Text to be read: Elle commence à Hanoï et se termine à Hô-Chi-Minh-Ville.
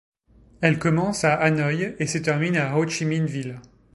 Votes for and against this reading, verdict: 2, 0, accepted